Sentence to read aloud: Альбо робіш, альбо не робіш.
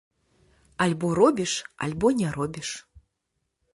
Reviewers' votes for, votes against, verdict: 2, 0, accepted